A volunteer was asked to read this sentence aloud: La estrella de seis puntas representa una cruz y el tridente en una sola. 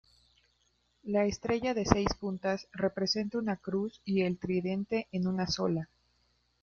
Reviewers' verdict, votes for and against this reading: accepted, 2, 1